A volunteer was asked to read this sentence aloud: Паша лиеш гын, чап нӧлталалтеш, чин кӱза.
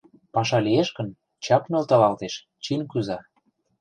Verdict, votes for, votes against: rejected, 1, 2